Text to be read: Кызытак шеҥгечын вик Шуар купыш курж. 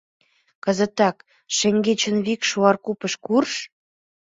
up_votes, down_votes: 2, 0